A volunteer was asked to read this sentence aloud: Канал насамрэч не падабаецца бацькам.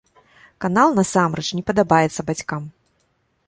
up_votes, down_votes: 2, 0